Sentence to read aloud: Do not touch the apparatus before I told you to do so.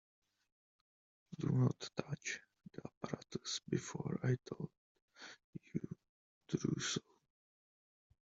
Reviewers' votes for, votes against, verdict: 0, 2, rejected